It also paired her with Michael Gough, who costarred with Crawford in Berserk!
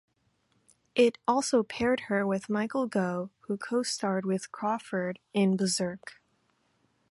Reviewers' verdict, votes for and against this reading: accepted, 2, 0